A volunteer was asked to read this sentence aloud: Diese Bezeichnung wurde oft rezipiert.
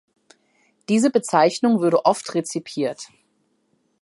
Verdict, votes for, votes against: rejected, 1, 2